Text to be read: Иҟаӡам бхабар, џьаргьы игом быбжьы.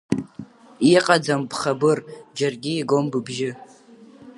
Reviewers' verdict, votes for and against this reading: rejected, 0, 2